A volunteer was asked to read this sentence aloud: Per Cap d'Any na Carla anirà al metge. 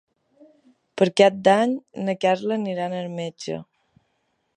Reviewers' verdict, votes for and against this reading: accepted, 2, 0